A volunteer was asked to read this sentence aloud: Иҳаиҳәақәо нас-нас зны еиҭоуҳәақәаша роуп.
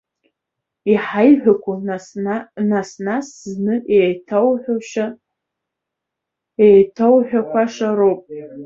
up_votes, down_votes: 0, 2